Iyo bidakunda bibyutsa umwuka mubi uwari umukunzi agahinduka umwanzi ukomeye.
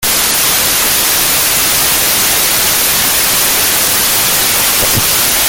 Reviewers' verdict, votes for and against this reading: rejected, 0, 2